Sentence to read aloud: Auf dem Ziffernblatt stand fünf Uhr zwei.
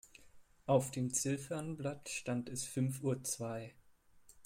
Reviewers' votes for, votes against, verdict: 2, 1, accepted